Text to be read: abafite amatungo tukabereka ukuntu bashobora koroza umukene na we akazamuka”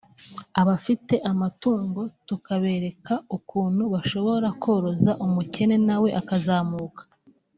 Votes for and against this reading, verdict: 2, 1, accepted